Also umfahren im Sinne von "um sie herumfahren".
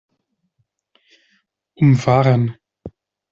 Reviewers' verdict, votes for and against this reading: rejected, 0, 2